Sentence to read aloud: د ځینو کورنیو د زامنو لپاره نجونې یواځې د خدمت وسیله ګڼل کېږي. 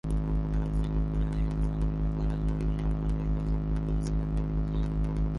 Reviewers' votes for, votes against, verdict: 0, 2, rejected